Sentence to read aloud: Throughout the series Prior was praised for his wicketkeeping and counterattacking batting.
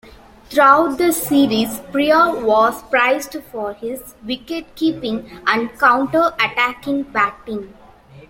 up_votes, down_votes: 2, 1